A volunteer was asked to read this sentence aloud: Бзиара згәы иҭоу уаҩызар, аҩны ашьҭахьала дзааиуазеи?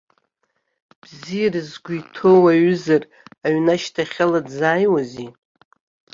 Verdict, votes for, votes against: accepted, 2, 0